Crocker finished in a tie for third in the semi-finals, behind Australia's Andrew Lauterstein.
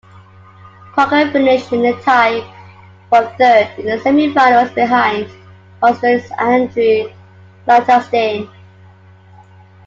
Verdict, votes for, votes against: accepted, 3, 2